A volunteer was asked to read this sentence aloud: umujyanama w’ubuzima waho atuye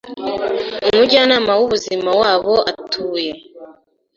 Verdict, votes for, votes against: rejected, 1, 2